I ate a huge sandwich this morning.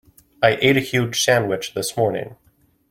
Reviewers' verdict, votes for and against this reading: accepted, 2, 0